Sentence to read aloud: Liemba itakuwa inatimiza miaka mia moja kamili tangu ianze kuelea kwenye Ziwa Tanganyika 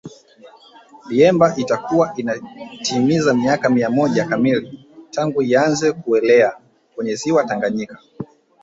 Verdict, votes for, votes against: accepted, 2, 0